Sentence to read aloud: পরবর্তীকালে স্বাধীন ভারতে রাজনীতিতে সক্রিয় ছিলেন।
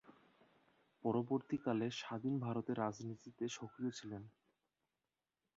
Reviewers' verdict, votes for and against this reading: rejected, 4, 4